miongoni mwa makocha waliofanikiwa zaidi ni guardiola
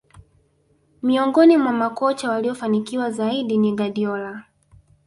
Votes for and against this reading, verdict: 2, 0, accepted